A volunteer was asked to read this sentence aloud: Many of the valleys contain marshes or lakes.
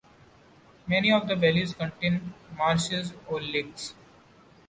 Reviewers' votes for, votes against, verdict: 2, 1, accepted